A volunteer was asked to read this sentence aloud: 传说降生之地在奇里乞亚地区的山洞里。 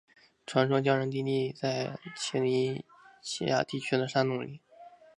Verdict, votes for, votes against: accepted, 4, 2